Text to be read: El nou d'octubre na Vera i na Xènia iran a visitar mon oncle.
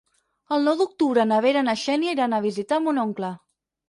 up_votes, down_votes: 4, 0